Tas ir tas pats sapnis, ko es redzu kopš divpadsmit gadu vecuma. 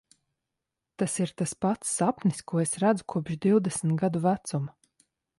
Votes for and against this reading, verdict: 0, 2, rejected